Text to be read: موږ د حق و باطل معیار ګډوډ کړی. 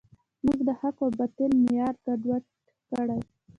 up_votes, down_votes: 1, 2